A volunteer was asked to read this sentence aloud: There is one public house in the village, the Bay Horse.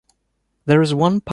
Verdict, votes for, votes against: rejected, 0, 2